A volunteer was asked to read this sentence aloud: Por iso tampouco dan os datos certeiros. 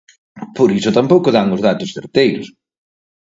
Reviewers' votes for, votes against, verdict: 4, 0, accepted